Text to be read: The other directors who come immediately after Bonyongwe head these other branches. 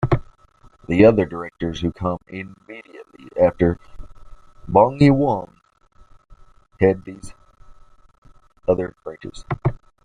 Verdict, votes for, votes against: rejected, 1, 2